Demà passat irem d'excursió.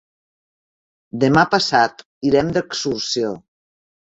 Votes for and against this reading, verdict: 0, 2, rejected